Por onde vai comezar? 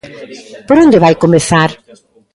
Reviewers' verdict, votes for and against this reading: accepted, 2, 0